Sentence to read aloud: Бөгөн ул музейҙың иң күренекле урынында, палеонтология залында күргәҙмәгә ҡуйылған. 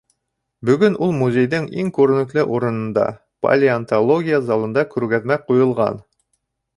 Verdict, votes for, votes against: rejected, 2, 3